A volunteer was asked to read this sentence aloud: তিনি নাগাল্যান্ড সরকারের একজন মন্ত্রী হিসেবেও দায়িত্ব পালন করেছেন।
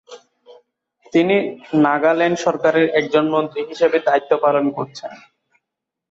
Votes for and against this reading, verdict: 1, 2, rejected